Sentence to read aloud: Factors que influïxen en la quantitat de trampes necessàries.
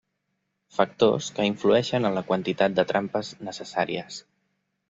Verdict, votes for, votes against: rejected, 1, 2